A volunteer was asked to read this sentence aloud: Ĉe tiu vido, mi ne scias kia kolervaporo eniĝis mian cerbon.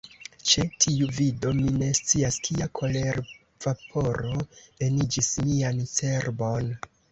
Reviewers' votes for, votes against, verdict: 1, 2, rejected